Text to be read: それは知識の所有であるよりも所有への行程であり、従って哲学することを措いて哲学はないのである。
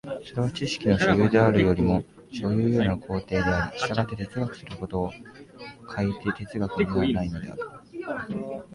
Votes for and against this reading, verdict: 1, 2, rejected